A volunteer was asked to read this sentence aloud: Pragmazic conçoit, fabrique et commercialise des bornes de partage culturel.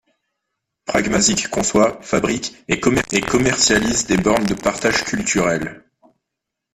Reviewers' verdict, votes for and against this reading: rejected, 0, 2